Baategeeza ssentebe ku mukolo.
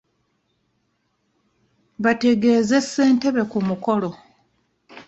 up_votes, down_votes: 0, 2